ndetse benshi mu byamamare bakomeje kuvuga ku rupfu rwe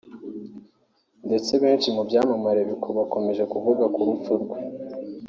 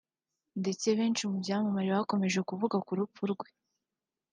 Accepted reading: second